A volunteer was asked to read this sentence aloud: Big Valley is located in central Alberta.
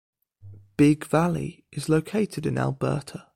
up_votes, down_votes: 1, 2